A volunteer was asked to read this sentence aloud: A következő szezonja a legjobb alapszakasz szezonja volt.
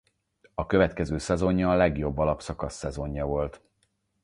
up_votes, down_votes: 4, 0